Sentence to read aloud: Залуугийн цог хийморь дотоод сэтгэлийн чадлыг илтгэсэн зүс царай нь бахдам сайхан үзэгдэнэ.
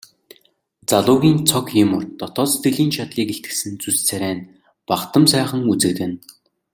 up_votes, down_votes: 2, 0